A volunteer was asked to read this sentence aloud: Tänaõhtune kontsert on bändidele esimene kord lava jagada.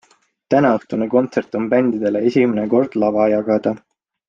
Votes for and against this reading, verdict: 3, 0, accepted